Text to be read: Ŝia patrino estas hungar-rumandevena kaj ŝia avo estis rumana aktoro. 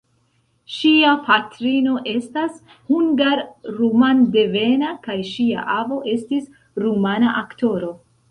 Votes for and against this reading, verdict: 1, 2, rejected